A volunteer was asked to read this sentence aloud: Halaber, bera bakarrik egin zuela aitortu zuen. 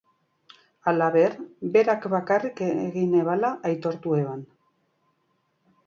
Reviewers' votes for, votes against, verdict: 0, 4, rejected